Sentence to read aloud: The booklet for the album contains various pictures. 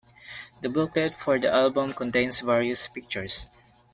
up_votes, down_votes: 2, 0